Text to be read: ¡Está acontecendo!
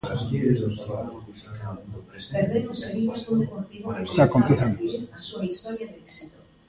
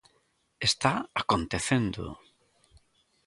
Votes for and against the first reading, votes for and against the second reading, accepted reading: 0, 2, 2, 0, second